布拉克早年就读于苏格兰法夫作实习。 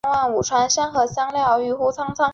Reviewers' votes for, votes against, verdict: 0, 3, rejected